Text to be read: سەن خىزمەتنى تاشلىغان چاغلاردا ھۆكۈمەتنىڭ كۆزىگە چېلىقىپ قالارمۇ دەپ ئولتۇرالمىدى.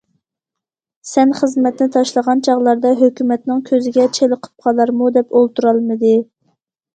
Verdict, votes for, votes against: accepted, 2, 0